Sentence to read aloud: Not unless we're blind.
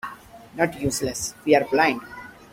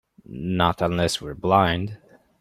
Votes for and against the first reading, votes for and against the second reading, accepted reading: 0, 3, 2, 0, second